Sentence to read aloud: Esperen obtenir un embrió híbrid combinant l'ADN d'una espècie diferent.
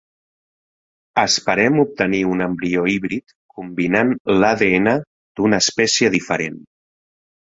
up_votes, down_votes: 1, 2